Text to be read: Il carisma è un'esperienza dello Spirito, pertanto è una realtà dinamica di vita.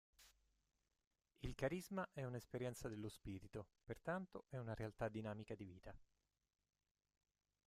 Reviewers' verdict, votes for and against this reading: rejected, 0, 2